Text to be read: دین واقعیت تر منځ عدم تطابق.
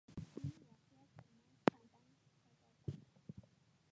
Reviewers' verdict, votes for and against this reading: rejected, 1, 2